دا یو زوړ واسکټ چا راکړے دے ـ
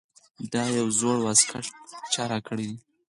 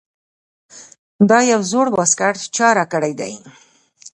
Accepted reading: second